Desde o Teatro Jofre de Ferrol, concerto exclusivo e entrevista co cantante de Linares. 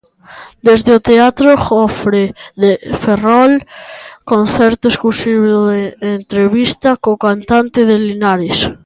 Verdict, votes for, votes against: accepted, 2, 0